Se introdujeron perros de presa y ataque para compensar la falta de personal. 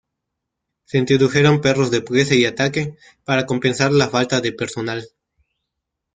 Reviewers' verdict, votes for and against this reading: rejected, 1, 2